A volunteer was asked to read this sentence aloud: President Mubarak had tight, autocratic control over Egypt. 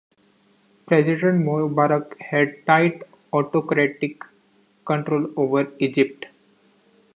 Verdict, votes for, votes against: accepted, 2, 0